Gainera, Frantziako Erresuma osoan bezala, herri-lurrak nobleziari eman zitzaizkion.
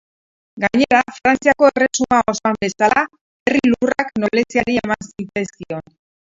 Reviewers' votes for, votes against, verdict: 0, 2, rejected